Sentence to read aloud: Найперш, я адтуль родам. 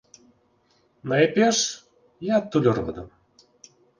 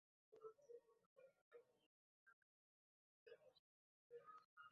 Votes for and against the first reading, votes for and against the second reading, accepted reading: 4, 0, 0, 3, first